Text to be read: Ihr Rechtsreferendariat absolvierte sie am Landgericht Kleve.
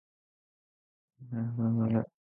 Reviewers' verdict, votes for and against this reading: rejected, 0, 2